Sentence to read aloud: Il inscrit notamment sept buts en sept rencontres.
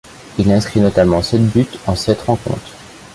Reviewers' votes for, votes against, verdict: 2, 0, accepted